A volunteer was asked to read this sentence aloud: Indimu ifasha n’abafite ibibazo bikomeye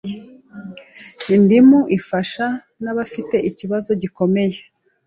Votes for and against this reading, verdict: 0, 2, rejected